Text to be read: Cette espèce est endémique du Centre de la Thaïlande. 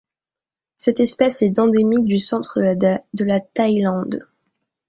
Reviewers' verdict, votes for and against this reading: rejected, 1, 2